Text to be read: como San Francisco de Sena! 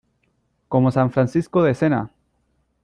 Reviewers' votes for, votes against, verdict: 0, 2, rejected